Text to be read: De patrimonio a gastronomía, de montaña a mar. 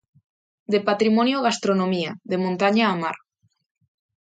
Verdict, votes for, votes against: accepted, 2, 1